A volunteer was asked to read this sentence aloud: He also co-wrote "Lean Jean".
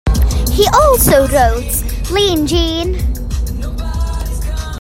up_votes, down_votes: 0, 2